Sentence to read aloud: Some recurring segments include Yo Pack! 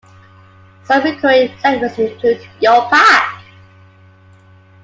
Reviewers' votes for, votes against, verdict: 2, 1, accepted